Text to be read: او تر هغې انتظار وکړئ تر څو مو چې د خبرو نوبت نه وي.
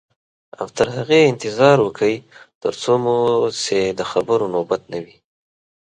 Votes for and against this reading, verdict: 2, 0, accepted